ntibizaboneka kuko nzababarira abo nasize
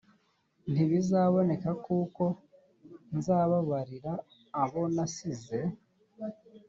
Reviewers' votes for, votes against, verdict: 5, 0, accepted